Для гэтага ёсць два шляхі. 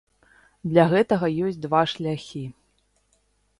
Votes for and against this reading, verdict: 2, 0, accepted